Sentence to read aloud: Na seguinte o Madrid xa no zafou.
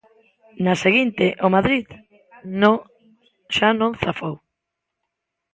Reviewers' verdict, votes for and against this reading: rejected, 0, 2